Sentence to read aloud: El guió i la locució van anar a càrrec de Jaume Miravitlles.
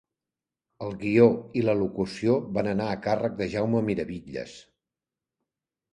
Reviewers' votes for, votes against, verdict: 2, 0, accepted